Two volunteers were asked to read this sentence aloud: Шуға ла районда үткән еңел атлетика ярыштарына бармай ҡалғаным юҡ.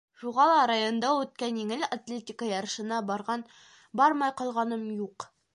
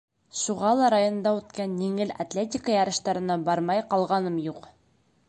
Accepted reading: second